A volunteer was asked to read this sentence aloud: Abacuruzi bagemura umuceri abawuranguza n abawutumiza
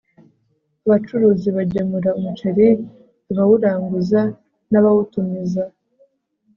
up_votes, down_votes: 2, 0